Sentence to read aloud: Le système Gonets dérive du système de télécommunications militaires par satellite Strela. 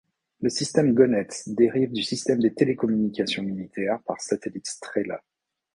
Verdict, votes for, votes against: rejected, 1, 2